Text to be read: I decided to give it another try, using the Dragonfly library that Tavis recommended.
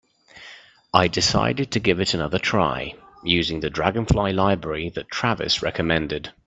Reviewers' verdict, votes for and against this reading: rejected, 0, 2